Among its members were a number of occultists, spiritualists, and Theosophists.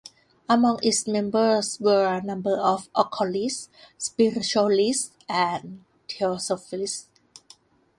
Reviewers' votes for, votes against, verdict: 2, 0, accepted